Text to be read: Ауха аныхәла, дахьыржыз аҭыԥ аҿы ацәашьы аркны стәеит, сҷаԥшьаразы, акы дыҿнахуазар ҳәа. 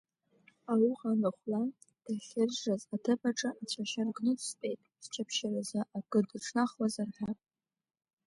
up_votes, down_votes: 1, 2